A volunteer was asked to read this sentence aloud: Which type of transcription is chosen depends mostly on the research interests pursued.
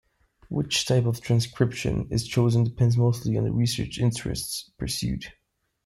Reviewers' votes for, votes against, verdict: 0, 2, rejected